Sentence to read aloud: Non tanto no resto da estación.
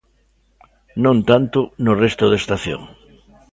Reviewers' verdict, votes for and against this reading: accepted, 2, 0